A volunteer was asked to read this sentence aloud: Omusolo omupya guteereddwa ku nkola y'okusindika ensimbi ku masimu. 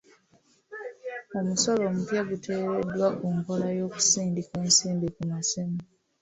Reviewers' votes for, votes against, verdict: 2, 0, accepted